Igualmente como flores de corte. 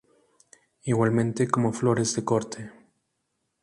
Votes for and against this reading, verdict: 4, 0, accepted